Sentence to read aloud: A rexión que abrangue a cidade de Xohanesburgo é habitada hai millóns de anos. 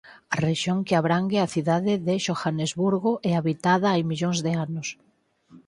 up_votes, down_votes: 4, 0